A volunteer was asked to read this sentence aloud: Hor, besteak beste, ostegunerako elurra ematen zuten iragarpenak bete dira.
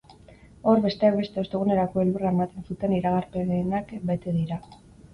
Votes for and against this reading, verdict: 0, 2, rejected